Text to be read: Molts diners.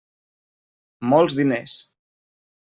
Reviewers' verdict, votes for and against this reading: accepted, 3, 0